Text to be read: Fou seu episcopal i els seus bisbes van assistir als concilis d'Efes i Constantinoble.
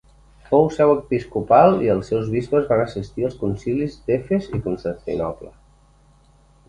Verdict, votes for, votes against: accepted, 2, 0